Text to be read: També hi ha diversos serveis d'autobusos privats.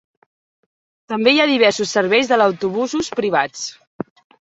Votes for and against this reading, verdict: 1, 3, rejected